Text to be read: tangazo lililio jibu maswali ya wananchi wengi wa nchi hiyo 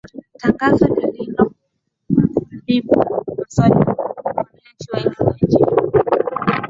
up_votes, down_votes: 0, 2